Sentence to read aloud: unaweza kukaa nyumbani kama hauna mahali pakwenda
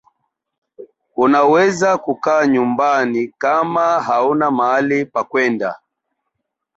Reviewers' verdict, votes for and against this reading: accepted, 2, 1